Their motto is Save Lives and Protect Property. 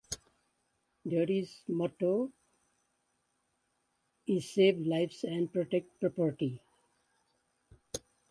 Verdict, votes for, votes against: rejected, 0, 2